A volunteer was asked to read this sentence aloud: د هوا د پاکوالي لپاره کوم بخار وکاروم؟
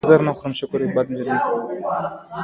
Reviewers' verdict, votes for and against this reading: accepted, 2, 0